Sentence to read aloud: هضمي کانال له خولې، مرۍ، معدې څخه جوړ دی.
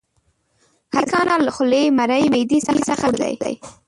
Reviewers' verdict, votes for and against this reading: rejected, 0, 2